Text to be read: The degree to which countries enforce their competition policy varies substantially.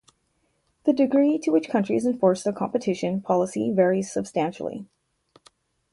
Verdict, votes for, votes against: accepted, 2, 0